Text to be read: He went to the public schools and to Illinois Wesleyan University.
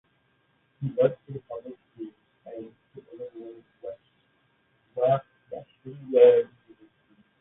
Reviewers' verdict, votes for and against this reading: rejected, 0, 2